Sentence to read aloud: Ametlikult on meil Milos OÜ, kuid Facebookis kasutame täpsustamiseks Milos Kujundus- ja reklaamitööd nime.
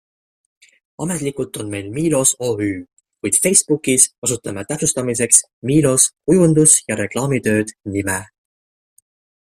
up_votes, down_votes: 2, 0